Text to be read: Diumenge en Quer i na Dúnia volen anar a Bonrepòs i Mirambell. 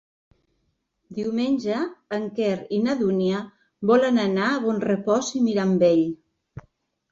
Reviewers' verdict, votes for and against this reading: accepted, 3, 0